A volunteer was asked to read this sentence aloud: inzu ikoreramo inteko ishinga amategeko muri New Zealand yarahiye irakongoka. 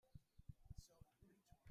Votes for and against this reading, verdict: 0, 2, rejected